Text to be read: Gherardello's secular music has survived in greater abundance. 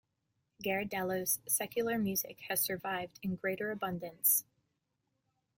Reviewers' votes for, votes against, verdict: 2, 0, accepted